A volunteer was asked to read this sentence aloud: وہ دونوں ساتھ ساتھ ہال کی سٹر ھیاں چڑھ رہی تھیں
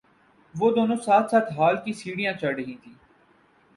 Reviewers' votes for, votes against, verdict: 2, 0, accepted